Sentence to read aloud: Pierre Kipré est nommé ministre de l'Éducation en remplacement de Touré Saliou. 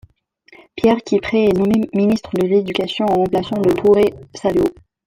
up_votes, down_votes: 1, 2